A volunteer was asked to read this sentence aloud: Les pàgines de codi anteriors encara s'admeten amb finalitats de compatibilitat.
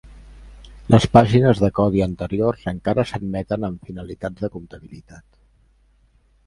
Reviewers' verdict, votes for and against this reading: accepted, 2, 1